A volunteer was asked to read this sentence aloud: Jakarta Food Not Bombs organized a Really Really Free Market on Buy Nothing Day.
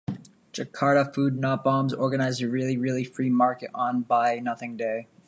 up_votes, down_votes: 2, 0